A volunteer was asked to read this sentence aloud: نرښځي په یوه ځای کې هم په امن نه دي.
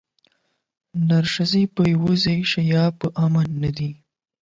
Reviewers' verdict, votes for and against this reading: rejected, 4, 8